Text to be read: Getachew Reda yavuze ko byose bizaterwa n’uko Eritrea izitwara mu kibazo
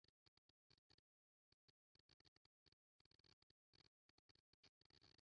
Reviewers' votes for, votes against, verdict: 0, 2, rejected